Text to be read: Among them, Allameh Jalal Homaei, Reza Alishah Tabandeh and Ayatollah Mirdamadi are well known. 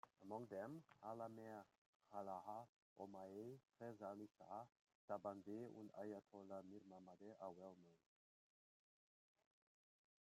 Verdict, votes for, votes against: rejected, 0, 2